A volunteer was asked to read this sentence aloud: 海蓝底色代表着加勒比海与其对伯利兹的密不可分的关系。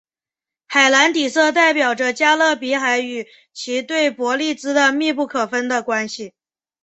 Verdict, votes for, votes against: accepted, 6, 0